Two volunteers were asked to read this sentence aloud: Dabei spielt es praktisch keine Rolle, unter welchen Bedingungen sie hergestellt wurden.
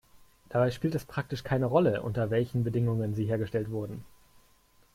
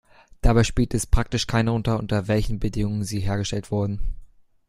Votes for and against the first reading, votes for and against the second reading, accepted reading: 3, 0, 0, 2, first